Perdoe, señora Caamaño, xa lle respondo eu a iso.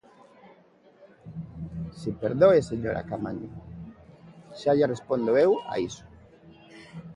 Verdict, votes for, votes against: rejected, 1, 2